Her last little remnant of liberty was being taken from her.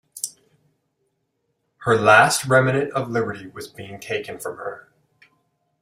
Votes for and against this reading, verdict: 0, 2, rejected